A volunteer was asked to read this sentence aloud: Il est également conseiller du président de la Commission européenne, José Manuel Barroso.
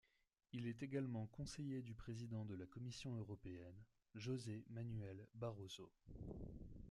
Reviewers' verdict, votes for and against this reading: accepted, 2, 0